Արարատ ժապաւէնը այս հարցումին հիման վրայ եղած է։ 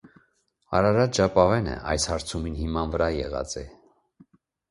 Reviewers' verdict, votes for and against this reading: accepted, 2, 0